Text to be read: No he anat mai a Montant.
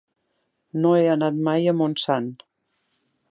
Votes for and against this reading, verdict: 0, 2, rejected